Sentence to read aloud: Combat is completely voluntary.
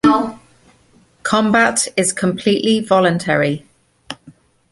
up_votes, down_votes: 1, 2